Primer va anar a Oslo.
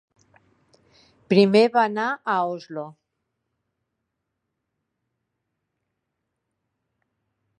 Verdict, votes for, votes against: accepted, 3, 0